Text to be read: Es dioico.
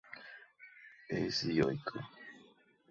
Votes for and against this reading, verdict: 2, 0, accepted